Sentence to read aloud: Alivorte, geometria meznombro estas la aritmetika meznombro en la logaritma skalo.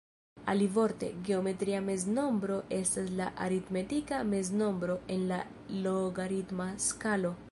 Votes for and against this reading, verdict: 2, 1, accepted